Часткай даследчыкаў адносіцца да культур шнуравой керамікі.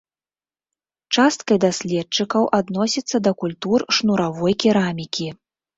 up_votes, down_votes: 2, 0